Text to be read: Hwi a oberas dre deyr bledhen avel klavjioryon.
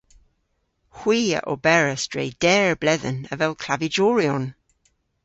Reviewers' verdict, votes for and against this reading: rejected, 0, 2